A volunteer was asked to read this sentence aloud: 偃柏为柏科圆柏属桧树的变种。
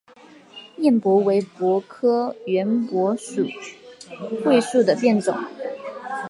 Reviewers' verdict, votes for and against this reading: accepted, 2, 0